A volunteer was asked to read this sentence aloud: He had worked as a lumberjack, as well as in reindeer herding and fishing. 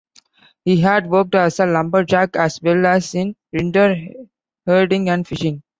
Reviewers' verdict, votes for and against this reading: rejected, 1, 2